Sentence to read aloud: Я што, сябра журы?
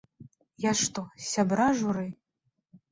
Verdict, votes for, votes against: rejected, 0, 2